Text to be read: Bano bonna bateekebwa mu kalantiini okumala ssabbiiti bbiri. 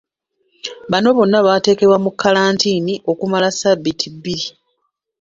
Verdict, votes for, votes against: accepted, 2, 1